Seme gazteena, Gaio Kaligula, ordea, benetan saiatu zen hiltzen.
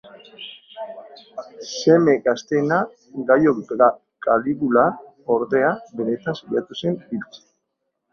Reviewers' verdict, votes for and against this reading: rejected, 0, 3